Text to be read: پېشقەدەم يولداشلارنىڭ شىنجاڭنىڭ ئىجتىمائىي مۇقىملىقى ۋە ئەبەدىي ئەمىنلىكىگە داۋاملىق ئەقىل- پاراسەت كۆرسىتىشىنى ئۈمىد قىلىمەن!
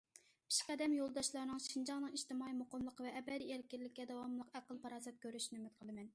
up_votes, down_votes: 1, 2